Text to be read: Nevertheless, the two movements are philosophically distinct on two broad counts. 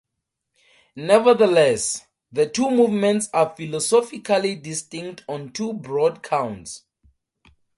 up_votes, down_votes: 2, 0